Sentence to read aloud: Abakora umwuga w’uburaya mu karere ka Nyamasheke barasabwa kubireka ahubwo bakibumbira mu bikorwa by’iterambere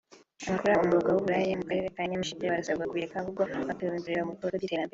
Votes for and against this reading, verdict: 0, 2, rejected